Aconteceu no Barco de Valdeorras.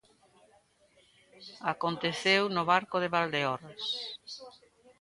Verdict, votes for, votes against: accepted, 2, 1